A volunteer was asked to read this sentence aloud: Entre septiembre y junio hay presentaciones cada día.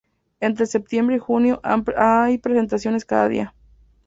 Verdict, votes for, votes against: rejected, 0, 2